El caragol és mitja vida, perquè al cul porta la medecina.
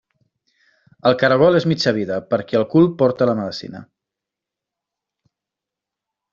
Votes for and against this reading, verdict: 2, 0, accepted